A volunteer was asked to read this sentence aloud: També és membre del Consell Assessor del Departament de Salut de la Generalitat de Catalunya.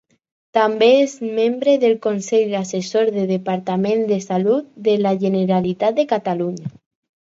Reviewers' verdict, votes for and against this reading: rejected, 2, 4